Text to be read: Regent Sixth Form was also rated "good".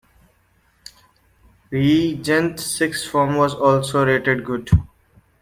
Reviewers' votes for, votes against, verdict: 2, 1, accepted